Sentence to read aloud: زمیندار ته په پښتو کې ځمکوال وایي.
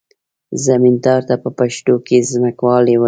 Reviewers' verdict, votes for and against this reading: rejected, 1, 2